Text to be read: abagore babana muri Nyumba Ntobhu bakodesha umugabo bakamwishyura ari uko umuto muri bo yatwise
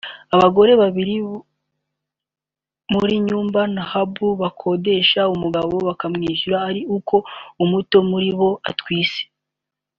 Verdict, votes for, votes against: rejected, 1, 3